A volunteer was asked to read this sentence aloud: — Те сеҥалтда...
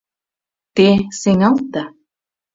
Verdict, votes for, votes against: accepted, 2, 0